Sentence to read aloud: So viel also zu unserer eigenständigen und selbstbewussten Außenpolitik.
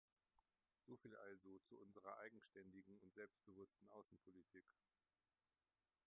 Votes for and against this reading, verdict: 0, 2, rejected